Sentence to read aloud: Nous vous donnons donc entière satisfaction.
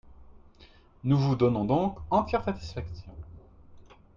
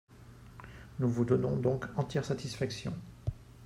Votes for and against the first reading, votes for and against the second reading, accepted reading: 2, 4, 4, 0, second